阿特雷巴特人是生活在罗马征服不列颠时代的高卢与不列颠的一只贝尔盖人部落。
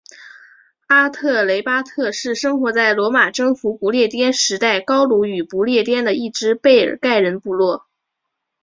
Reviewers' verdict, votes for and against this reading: rejected, 0, 3